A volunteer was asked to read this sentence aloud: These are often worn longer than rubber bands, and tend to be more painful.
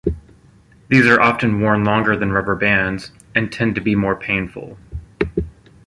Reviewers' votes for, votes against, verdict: 0, 2, rejected